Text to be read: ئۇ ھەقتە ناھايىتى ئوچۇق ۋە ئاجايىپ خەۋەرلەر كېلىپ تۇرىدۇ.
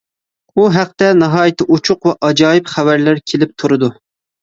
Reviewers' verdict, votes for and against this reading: accepted, 2, 0